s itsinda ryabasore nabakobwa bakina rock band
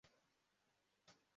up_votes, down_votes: 0, 2